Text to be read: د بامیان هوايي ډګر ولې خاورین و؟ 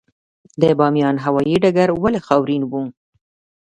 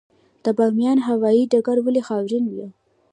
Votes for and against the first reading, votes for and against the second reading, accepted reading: 2, 0, 1, 2, first